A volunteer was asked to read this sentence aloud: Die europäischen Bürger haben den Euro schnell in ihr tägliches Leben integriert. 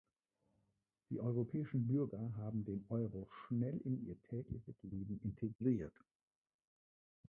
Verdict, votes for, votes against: rejected, 0, 3